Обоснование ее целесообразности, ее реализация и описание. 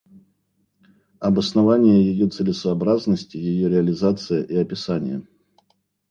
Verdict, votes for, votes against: accepted, 2, 0